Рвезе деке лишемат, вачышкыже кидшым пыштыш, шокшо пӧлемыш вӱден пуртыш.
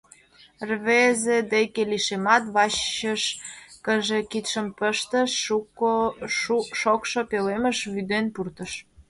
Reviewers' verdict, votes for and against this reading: rejected, 0, 2